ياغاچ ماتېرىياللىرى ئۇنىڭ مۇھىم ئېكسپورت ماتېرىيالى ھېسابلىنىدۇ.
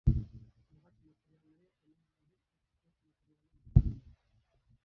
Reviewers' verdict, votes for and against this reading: rejected, 0, 2